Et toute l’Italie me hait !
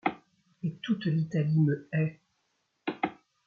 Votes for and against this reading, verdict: 1, 2, rejected